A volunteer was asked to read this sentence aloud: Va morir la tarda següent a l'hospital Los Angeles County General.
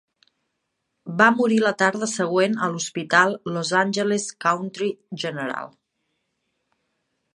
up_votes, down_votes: 3, 1